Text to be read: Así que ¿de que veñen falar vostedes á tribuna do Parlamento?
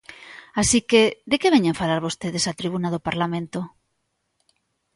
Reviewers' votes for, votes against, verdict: 2, 0, accepted